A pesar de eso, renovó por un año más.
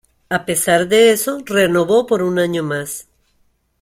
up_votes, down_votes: 2, 0